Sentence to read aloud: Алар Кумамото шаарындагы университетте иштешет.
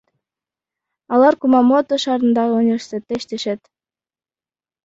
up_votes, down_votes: 0, 2